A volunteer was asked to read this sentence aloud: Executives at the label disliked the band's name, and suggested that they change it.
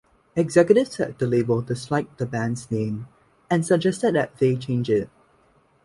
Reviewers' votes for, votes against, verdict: 2, 1, accepted